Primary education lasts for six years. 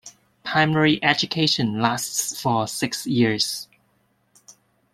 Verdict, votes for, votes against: accepted, 2, 0